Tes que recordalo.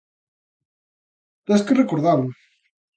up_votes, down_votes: 2, 0